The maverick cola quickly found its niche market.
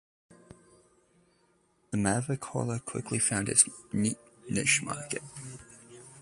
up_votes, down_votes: 0, 2